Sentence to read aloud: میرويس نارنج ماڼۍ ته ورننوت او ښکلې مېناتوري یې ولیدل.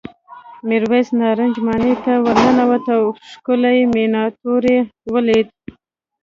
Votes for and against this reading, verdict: 0, 2, rejected